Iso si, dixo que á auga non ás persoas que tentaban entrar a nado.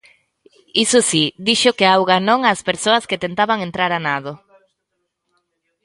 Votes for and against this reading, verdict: 2, 0, accepted